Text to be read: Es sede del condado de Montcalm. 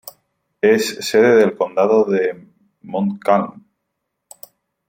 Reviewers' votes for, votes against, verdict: 3, 2, accepted